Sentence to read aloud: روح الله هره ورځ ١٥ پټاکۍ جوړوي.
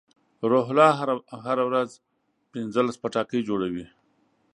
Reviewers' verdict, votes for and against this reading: rejected, 0, 2